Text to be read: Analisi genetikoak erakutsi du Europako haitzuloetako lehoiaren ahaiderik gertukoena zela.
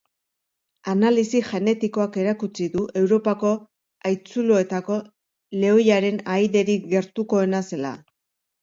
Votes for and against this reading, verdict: 2, 0, accepted